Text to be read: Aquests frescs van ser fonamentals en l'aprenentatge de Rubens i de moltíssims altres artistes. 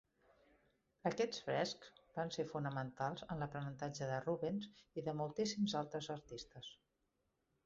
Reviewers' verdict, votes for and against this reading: rejected, 1, 2